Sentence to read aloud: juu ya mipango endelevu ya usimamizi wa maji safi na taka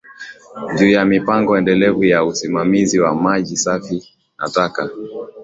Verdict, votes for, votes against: accepted, 4, 1